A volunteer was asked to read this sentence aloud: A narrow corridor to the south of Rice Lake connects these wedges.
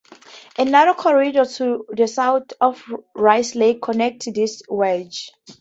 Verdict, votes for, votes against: rejected, 2, 2